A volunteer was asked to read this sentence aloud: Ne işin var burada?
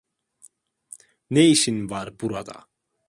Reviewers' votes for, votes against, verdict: 2, 0, accepted